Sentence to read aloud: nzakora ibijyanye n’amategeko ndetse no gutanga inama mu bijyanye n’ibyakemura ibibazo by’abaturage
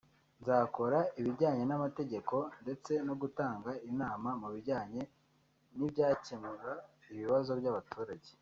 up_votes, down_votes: 1, 2